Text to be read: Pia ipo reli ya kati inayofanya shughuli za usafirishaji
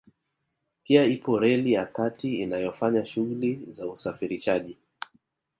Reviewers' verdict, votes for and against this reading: accepted, 2, 0